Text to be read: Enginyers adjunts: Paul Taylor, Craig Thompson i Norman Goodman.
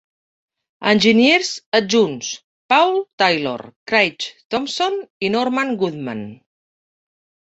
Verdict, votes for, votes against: rejected, 0, 2